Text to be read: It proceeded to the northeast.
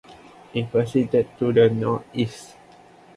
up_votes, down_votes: 1, 2